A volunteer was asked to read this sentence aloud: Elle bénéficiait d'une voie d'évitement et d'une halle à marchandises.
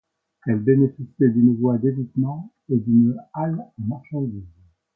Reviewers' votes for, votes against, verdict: 2, 0, accepted